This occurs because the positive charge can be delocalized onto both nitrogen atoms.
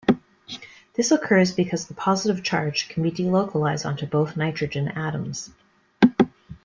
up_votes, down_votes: 2, 0